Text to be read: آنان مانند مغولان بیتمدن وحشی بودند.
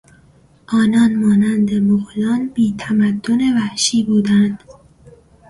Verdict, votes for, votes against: rejected, 0, 2